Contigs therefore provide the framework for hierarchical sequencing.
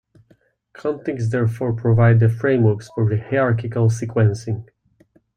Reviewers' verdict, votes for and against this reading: rejected, 1, 2